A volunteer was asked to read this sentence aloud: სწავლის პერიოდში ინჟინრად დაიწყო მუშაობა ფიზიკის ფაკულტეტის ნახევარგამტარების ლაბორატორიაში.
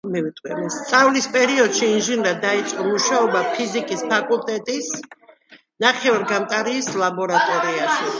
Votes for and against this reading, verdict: 0, 2, rejected